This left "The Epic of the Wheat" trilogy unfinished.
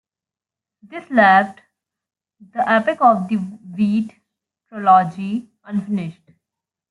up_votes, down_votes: 2, 1